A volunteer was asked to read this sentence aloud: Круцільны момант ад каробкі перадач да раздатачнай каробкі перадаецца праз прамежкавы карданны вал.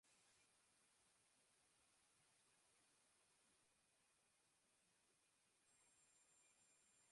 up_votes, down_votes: 0, 2